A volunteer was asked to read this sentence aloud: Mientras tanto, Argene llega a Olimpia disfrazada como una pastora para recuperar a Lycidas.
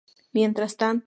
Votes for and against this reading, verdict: 0, 2, rejected